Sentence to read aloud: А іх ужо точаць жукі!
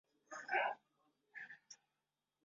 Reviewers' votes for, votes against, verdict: 0, 2, rejected